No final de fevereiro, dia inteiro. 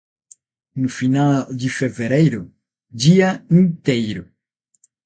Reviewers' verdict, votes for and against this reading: rejected, 3, 3